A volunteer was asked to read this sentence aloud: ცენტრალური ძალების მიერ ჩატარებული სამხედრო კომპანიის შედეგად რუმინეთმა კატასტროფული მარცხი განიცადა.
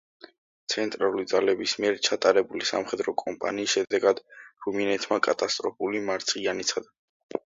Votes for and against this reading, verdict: 2, 0, accepted